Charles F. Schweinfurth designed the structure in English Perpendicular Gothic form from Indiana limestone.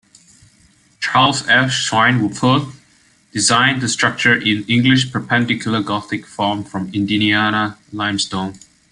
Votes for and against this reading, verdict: 1, 2, rejected